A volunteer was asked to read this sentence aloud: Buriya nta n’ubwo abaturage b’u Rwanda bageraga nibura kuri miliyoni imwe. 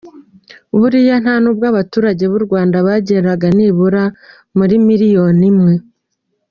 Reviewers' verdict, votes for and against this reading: accepted, 2, 0